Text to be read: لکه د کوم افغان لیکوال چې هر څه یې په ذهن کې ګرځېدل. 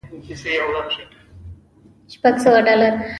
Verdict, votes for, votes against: rejected, 0, 2